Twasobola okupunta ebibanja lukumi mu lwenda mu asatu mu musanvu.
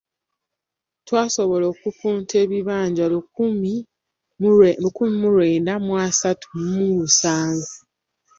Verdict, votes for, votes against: rejected, 0, 2